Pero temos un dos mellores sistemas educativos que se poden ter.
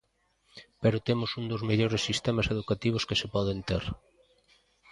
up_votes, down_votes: 2, 0